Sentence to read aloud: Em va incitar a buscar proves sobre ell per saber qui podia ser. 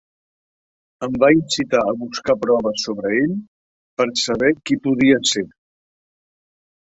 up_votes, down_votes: 1, 2